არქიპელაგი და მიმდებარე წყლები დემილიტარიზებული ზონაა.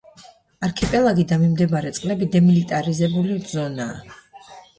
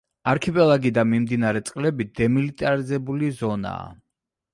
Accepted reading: first